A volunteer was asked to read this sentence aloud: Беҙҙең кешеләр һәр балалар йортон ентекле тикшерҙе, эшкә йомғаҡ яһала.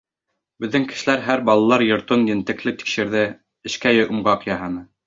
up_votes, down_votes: 0, 2